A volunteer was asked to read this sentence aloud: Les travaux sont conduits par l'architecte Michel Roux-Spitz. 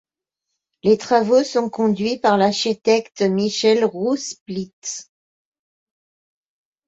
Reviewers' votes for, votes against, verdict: 1, 2, rejected